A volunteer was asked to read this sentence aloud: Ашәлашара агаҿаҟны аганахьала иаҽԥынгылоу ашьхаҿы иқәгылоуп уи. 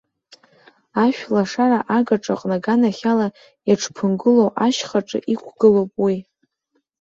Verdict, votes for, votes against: accepted, 2, 0